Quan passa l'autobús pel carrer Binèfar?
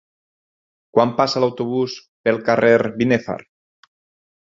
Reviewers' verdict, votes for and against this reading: accepted, 4, 0